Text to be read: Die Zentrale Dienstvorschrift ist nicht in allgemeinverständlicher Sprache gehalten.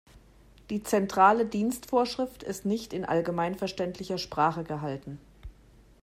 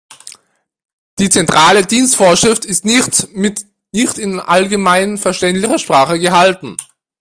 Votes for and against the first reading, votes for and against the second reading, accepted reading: 2, 0, 0, 2, first